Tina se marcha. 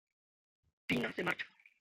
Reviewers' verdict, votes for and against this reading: rejected, 0, 2